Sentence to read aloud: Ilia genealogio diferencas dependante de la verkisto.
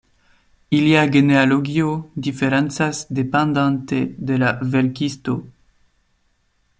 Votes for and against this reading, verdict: 1, 2, rejected